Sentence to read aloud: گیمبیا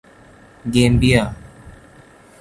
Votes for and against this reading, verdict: 1, 2, rejected